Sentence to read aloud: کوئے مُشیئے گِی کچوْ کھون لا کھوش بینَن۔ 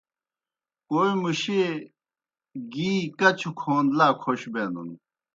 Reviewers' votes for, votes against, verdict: 2, 0, accepted